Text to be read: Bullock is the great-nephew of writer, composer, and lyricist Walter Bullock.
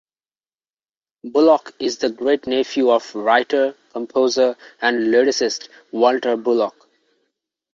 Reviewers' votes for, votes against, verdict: 3, 2, accepted